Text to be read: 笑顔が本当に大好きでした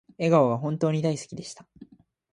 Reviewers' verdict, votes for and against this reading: accepted, 2, 0